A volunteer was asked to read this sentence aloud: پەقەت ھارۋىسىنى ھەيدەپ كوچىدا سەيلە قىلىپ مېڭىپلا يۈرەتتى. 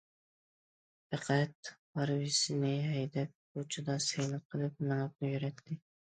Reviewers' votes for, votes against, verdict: 1, 2, rejected